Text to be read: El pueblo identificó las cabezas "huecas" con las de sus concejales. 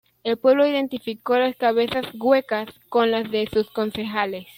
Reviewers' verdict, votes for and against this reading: accepted, 2, 0